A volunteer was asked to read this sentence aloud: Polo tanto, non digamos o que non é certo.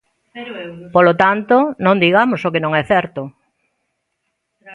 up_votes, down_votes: 0, 2